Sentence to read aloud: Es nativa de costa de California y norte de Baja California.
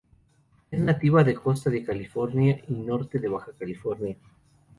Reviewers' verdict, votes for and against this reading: rejected, 0, 2